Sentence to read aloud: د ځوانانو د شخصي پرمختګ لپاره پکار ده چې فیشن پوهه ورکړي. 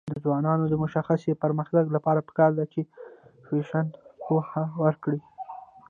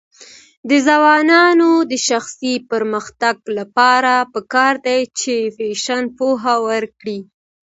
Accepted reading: second